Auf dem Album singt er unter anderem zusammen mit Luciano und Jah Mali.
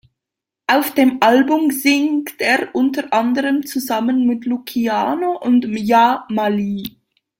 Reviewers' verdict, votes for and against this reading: rejected, 1, 2